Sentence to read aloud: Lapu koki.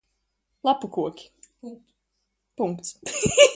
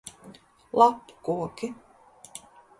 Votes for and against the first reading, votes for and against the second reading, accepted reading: 0, 2, 2, 0, second